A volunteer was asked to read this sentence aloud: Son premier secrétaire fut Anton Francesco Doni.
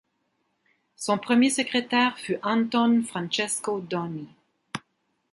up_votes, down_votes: 2, 0